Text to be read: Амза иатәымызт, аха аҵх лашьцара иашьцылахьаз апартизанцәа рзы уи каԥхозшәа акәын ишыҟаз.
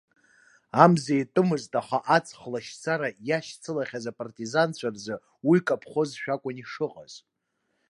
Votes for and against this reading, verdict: 2, 0, accepted